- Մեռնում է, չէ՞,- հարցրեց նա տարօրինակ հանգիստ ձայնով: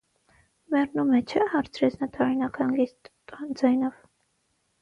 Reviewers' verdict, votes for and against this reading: rejected, 3, 3